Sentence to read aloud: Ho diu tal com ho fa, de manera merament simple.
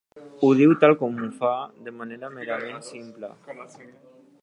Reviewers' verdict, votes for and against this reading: accepted, 2, 1